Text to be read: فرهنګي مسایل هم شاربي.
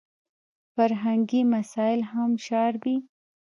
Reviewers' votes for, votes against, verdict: 0, 2, rejected